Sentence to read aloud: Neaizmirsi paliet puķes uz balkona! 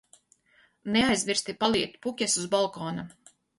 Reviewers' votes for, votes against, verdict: 4, 0, accepted